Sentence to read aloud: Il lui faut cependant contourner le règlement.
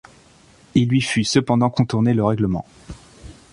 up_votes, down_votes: 1, 2